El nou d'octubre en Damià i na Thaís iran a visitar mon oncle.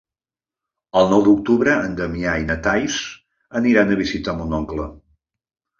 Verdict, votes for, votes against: rejected, 1, 2